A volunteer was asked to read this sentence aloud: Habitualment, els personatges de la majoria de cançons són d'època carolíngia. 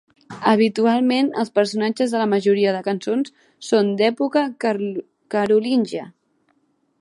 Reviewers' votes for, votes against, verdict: 0, 2, rejected